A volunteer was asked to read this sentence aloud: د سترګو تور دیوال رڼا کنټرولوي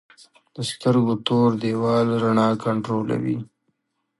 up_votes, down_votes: 2, 1